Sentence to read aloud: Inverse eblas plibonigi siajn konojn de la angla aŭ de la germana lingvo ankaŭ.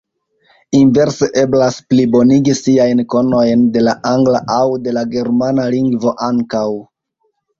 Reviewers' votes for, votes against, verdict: 2, 0, accepted